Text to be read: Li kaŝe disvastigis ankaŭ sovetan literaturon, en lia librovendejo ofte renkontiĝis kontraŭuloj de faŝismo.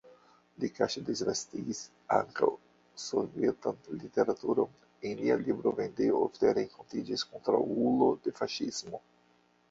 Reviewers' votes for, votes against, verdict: 1, 2, rejected